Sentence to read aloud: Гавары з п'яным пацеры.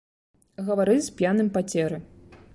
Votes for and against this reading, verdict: 1, 2, rejected